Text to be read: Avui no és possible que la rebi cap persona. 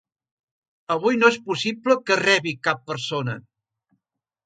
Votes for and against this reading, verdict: 1, 2, rejected